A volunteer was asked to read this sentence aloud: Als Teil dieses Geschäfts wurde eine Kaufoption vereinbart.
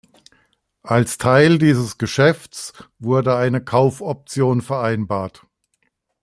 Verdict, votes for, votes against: accepted, 2, 0